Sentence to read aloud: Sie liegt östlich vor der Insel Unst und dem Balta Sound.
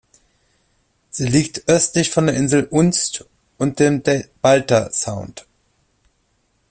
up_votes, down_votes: 0, 2